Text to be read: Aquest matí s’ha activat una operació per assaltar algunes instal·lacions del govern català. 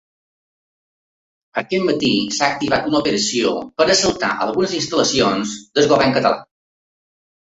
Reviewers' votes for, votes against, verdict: 2, 1, accepted